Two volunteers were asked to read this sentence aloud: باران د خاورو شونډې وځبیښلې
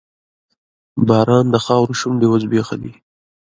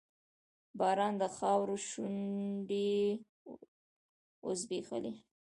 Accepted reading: first